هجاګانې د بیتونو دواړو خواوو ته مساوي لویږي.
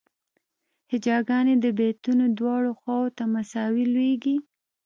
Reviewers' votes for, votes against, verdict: 2, 0, accepted